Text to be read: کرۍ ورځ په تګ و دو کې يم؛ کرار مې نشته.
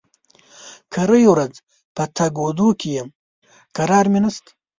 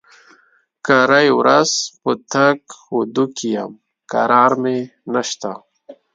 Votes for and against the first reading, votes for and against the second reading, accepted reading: 1, 2, 2, 0, second